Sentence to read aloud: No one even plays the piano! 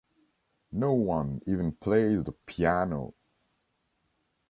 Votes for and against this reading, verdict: 2, 0, accepted